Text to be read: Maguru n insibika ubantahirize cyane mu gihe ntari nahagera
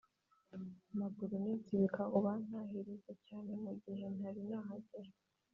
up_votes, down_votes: 3, 1